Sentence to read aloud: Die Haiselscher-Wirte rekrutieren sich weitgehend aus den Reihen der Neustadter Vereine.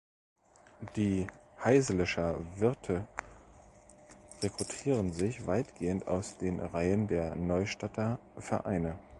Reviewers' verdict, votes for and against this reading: accepted, 2, 0